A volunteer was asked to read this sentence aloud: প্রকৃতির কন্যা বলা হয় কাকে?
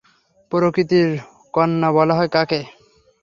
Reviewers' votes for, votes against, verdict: 3, 0, accepted